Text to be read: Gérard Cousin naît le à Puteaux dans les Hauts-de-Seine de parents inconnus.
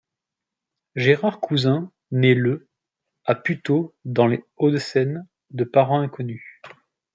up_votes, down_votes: 2, 0